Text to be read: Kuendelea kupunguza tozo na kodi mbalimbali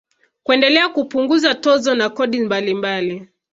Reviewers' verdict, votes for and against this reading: accepted, 2, 1